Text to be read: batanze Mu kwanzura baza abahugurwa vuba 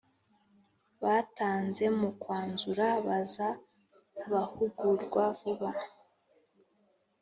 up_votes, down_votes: 2, 0